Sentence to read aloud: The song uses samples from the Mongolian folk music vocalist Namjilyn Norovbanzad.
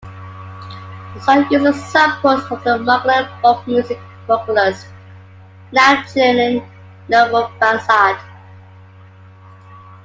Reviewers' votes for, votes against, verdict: 1, 2, rejected